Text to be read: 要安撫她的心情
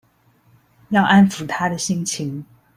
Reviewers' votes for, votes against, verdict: 0, 2, rejected